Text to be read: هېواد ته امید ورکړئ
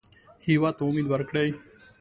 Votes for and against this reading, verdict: 2, 0, accepted